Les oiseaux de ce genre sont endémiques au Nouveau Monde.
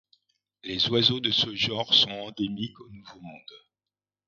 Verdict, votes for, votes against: rejected, 0, 2